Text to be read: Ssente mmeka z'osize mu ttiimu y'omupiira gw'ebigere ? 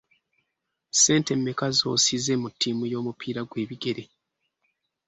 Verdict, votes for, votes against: accepted, 2, 0